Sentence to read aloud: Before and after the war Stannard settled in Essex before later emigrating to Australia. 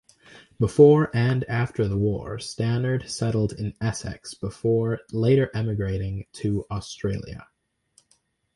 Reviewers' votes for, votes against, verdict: 2, 2, rejected